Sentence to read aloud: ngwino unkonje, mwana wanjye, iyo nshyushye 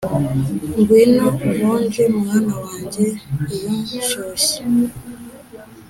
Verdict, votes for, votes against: accepted, 3, 0